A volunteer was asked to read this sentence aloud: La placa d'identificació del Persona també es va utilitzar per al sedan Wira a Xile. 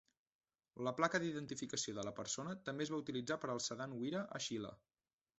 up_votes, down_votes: 0, 2